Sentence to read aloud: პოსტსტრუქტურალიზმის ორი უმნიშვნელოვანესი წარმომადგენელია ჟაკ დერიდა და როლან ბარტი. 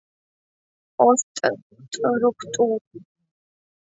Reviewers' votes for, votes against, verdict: 0, 2, rejected